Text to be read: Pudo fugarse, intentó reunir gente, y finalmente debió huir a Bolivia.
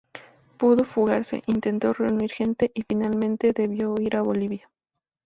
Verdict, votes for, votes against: accepted, 2, 0